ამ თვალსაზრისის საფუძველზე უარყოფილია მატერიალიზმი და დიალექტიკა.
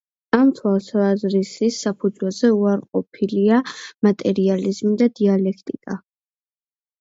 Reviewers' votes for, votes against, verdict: 0, 2, rejected